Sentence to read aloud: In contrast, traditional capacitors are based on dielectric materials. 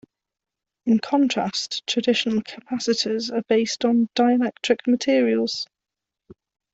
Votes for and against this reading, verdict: 2, 0, accepted